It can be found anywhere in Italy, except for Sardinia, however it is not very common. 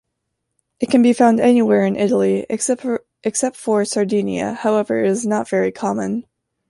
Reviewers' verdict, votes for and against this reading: rejected, 0, 2